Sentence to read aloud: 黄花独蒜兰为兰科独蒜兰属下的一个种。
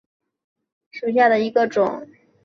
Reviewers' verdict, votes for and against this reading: accepted, 4, 1